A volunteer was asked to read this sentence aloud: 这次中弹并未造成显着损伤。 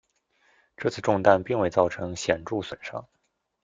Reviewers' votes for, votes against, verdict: 2, 0, accepted